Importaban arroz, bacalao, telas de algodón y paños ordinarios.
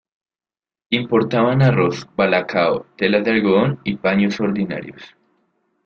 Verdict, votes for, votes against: rejected, 1, 2